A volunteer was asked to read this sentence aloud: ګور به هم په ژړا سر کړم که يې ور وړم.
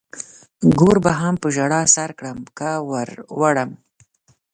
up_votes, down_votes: 0, 2